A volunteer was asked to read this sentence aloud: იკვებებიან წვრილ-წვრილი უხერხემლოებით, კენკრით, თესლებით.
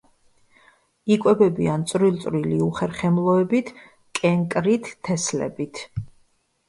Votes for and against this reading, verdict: 2, 0, accepted